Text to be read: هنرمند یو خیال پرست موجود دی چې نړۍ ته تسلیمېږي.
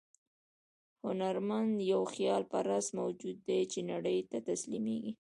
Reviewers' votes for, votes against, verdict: 1, 2, rejected